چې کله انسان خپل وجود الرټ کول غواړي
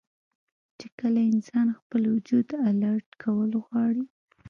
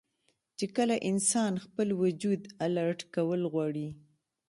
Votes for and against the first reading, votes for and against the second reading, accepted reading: 1, 2, 2, 0, second